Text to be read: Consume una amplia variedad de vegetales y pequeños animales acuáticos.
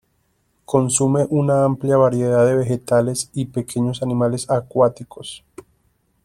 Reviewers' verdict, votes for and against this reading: accepted, 2, 1